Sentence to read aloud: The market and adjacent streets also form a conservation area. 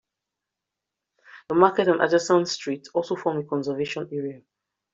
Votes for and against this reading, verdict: 2, 1, accepted